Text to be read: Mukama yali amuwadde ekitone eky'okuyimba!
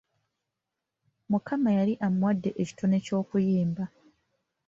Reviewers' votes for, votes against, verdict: 3, 2, accepted